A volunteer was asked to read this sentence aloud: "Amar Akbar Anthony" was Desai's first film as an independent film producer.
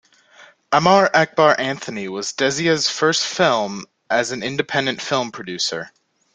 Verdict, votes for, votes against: accepted, 2, 0